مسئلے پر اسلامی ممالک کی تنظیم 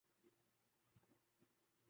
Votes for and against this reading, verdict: 0, 2, rejected